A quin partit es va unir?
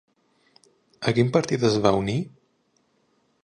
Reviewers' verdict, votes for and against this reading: accepted, 2, 0